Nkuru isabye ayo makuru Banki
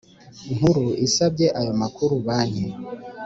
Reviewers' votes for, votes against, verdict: 2, 0, accepted